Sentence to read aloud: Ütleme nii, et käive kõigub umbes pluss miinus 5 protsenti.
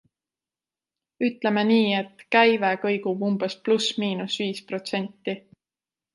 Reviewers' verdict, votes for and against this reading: rejected, 0, 2